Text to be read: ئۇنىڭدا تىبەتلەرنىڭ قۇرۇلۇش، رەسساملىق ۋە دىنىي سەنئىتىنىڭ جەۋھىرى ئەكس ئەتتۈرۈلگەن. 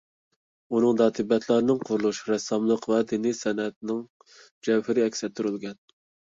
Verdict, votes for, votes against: accepted, 2, 1